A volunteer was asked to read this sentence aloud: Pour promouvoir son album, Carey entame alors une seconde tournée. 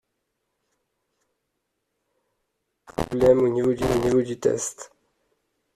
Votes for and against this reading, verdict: 0, 2, rejected